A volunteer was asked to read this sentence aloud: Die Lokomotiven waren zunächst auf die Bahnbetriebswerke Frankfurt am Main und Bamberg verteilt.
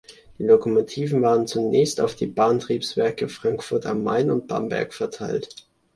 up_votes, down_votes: 0, 2